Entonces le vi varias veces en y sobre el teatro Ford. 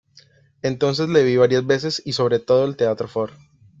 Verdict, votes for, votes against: rejected, 0, 2